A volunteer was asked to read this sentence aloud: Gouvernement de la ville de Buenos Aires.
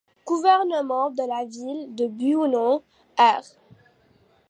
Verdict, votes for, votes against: accepted, 2, 1